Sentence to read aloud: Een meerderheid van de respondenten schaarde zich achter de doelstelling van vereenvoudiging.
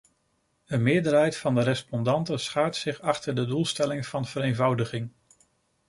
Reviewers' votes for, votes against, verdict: 1, 2, rejected